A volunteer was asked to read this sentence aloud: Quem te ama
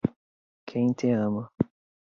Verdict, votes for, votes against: accepted, 2, 0